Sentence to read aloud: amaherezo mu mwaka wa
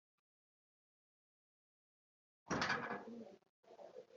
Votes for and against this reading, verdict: 0, 2, rejected